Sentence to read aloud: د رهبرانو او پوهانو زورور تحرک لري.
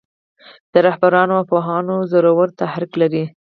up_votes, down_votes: 2, 4